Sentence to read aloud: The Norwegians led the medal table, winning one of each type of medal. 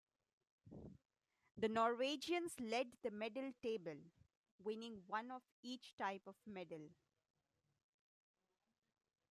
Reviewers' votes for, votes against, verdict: 1, 2, rejected